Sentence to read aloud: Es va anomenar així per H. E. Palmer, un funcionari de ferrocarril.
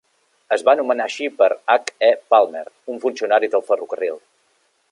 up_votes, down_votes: 1, 2